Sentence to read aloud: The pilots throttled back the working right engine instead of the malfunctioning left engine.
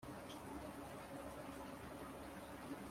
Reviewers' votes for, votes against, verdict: 0, 2, rejected